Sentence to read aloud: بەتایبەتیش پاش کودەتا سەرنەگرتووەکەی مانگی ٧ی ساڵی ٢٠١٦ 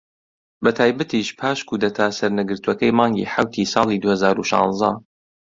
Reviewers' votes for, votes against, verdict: 0, 2, rejected